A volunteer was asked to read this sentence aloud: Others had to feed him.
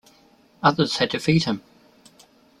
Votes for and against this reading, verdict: 1, 2, rejected